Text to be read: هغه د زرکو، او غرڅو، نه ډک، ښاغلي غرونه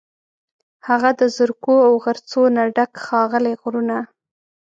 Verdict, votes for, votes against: rejected, 1, 2